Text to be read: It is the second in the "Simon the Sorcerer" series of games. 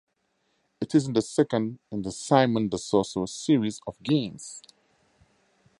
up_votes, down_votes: 2, 0